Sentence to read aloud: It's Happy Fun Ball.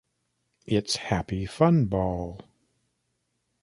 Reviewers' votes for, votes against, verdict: 2, 0, accepted